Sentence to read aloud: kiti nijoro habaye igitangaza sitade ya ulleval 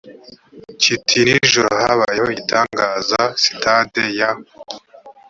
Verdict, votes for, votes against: rejected, 1, 2